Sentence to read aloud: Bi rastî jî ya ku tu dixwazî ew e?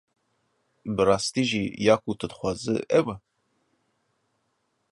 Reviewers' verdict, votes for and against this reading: accepted, 2, 1